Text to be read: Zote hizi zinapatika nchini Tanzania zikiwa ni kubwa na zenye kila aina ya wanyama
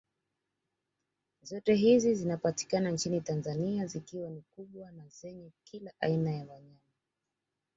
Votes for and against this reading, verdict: 1, 2, rejected